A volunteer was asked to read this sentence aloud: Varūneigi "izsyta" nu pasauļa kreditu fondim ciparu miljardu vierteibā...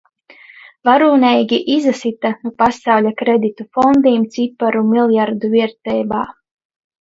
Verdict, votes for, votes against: rejected, 0, 2